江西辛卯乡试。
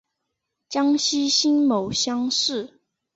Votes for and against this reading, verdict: 3, 0, accepted